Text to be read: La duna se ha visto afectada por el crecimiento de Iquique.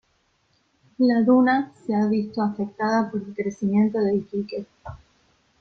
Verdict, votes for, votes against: accepted, 2, 0